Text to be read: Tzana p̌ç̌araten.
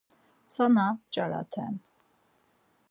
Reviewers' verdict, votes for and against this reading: accepted, 4, 0